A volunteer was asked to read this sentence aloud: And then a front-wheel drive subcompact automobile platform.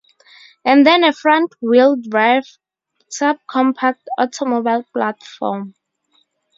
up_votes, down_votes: 2, 0